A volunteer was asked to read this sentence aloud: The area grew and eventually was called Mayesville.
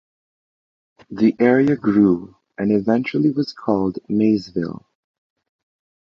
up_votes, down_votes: 2, 0